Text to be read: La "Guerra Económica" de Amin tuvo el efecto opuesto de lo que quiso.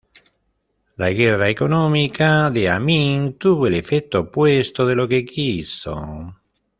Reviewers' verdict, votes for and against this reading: rejected, 1, 2